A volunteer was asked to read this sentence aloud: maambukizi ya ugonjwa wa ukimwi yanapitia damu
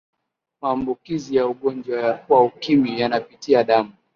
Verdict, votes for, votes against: accepted, 2, 0